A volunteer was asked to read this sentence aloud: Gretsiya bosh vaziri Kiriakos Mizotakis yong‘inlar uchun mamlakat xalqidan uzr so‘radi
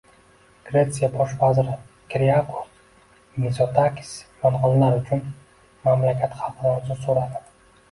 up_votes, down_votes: 2, 0